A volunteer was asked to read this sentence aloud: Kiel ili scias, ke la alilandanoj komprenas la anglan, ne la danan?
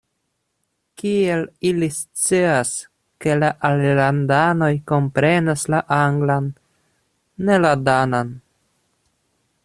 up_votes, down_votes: 2, 0